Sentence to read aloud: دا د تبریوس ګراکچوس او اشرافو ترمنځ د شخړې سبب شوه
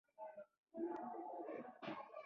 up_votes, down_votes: 0, 2